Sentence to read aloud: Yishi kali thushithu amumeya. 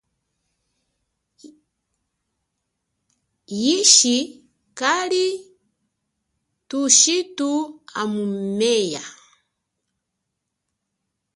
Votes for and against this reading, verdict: 2, 1, accepted